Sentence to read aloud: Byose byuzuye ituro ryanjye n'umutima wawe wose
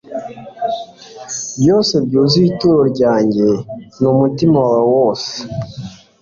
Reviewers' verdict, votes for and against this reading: accepted, 2, 0